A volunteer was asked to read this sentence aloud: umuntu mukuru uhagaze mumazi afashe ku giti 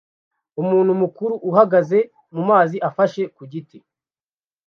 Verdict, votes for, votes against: accepted, 2, 0